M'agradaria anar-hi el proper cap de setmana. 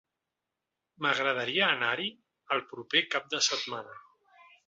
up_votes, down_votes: 3, 0